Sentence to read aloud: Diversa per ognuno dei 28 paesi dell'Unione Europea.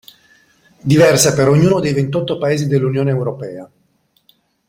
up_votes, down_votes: 0, 2